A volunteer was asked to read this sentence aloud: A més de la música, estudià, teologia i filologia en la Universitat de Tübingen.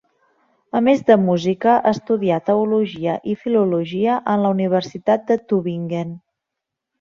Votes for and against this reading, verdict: 0, 2, rejected